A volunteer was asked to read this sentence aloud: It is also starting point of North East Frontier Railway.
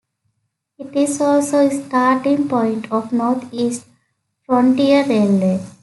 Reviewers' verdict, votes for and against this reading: accepted, 3, 0